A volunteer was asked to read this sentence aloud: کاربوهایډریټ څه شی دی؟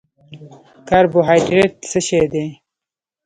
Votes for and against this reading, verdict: 0, 2, rejected